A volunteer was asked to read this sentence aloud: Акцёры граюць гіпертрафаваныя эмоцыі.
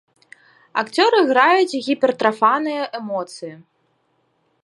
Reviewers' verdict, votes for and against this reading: rejected, 0, 2